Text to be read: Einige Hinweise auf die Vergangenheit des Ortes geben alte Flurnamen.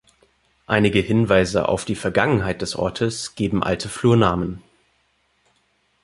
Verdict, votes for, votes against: accepted, 2, 0